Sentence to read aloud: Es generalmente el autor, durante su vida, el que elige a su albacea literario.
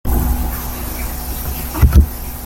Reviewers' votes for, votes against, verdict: 0, 2, rejected